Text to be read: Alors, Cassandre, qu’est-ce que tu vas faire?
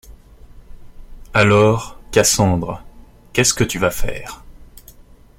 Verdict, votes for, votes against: accepted, 2, 0